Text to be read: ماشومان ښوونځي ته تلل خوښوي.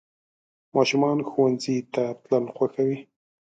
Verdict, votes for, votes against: accepted, 2, 0